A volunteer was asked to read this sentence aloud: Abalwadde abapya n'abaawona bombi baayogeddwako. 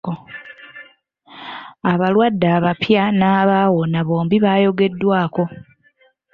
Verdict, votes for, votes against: accepted, 2, 0